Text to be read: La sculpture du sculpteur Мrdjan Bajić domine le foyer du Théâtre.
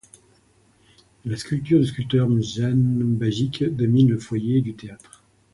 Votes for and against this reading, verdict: 0, 2, rejected